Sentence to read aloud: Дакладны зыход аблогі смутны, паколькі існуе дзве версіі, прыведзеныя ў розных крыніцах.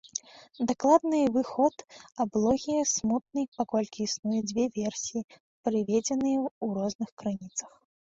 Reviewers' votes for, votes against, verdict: 0, 2, rejected